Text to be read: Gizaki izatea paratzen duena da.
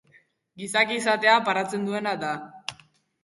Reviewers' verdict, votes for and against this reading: accepted, 2, 0